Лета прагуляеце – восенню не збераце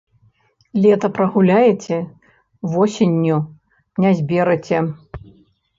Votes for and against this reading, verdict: 1, 2, rejected